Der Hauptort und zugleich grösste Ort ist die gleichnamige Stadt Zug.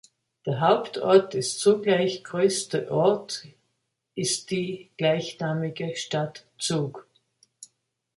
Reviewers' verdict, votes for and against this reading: rejected, 0, 2